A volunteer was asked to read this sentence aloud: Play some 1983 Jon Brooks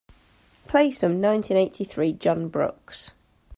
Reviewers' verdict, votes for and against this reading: rejected, 0, 2